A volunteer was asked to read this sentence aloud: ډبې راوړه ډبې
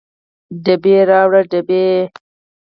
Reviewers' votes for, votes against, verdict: 4, 0, accepted